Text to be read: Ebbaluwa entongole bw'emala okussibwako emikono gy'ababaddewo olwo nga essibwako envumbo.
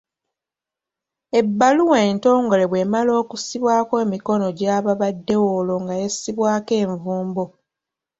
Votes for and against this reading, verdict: 2, 0, accepted